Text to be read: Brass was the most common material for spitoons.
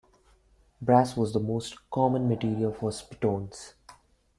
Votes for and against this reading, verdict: 2, 0, accepted